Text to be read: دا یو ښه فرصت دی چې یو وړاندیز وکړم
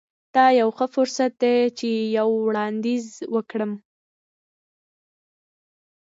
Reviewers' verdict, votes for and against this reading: accepted, 3, 0